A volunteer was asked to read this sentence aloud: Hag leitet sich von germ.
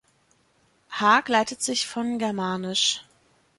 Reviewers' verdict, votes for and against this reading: rejected, 0, 2